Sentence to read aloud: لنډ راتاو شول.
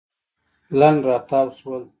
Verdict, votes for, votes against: accepted, 2, 0